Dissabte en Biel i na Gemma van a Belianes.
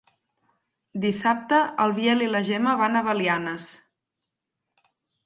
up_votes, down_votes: 2, 4